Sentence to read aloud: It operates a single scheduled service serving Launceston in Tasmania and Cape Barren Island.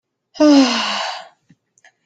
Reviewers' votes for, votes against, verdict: 0, 2, rejected